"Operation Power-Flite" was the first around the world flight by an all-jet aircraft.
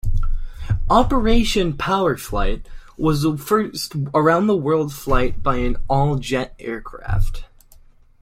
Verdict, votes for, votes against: accepted, 2, 0